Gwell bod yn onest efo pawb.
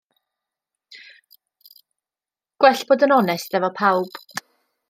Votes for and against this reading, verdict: 2, 0, accepted